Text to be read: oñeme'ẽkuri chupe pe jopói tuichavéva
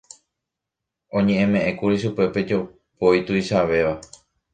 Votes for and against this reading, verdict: 1, 2, rejected